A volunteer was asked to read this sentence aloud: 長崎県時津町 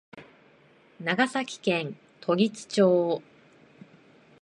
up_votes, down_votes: 2, 0